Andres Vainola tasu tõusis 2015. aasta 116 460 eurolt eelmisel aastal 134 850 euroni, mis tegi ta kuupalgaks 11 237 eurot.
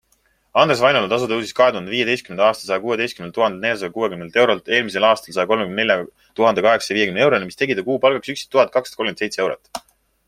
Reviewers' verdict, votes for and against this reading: rejected, 0, 2